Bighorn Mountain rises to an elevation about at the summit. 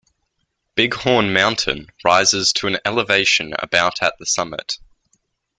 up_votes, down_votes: 2, 0